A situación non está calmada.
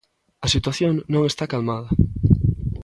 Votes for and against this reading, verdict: 3, 0, accepted